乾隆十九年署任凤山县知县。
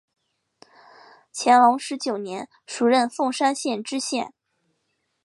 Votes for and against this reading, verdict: 4, 0, accepted